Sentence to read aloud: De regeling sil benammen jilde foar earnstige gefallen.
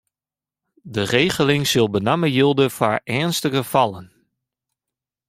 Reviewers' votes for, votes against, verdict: 0, 2, rejected